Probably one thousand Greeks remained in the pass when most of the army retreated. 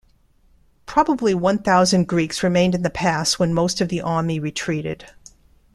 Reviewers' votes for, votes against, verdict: 2, 0, accepted